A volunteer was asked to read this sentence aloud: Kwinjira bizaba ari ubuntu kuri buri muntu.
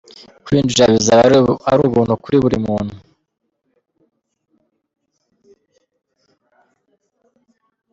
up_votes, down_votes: 0, 2